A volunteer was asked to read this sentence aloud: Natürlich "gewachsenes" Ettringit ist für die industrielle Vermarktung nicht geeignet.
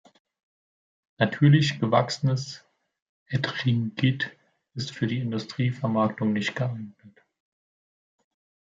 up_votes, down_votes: 0, 2